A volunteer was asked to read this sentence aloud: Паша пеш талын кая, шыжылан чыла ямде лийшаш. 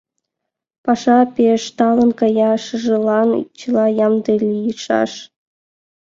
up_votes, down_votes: 2, 0